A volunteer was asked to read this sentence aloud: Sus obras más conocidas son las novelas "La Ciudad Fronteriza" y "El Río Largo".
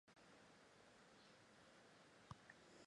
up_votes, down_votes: 0, 4